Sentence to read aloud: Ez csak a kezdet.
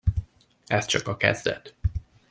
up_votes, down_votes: 2, 0